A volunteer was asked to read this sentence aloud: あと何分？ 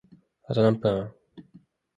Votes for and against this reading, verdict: 2, 0, accepted